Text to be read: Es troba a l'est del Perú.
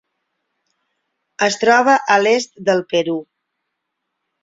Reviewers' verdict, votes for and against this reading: accepted, 9, 0